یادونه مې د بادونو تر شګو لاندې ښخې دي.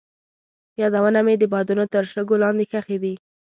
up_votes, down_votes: 2, 0